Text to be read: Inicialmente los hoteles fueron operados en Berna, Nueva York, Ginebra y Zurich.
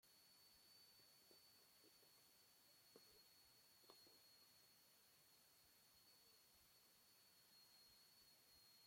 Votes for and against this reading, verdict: 0, 2, rejected